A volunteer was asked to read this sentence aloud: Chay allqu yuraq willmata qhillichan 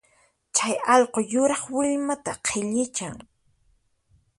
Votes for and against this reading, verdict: 4, 0, accepted